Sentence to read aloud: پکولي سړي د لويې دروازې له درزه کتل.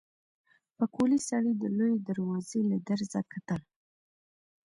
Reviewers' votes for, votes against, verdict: 2, 0, accepted